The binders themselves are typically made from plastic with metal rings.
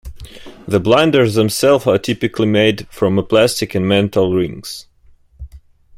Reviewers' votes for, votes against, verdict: 0, 2, rejected